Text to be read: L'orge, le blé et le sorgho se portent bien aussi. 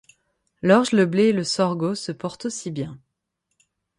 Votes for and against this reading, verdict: 3, 6, rejected